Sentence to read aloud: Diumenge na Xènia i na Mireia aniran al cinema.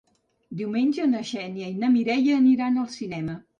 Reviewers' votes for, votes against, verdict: 2, 0, accepted